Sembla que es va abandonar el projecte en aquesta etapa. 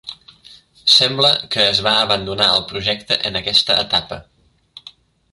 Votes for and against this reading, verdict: 4, 0, accepted